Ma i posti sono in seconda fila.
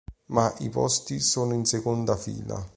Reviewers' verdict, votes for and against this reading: accepted, 3, 0